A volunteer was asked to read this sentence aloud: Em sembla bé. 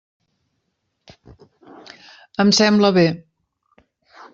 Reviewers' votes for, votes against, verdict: 3, 0, accepted